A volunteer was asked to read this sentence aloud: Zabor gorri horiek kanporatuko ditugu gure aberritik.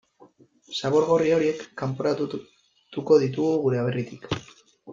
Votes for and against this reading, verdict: 0, 2, rejected